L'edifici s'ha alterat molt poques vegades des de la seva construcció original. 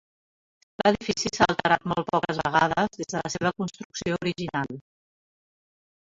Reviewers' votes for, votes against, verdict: 1, 2, rejected